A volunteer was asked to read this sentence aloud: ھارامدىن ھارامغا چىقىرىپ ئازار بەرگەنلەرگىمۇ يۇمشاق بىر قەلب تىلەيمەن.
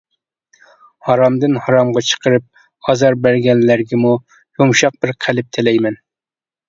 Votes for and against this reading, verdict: 2, 0, accepted